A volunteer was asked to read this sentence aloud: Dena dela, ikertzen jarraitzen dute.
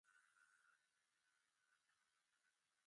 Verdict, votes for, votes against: rejected, 0, 2